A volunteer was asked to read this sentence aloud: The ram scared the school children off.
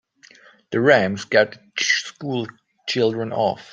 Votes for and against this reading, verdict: 0, 2, rejected